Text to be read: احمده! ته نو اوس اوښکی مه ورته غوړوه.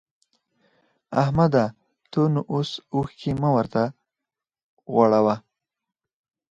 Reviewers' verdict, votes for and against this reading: rejected, 0, 2